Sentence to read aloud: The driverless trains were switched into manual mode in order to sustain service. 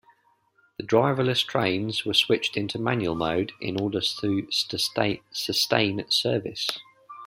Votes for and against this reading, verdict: 0, 2, rejected